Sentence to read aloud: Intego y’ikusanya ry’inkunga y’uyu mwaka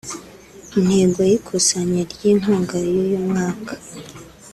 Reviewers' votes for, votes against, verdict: 1, 2, rejected